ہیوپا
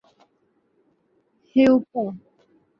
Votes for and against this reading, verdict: 2, 2, rejected